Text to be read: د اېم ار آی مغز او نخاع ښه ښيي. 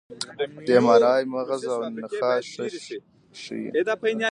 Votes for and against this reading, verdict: 2, 0, accepted